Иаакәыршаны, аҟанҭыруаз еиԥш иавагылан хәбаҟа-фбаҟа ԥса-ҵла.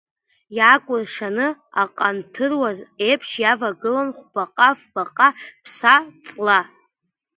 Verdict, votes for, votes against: accepted, 2, 1